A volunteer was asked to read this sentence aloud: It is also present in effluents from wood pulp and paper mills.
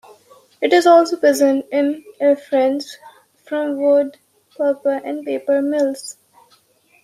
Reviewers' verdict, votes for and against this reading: accepted, 2, 0